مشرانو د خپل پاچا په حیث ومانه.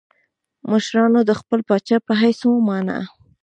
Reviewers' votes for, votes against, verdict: 2, 0, accepted